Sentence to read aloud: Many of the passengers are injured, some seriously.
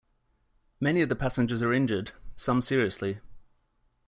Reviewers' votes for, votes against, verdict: 2, 0, accepted